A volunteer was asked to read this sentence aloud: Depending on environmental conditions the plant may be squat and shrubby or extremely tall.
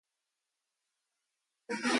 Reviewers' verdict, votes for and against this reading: rejected, 0, 2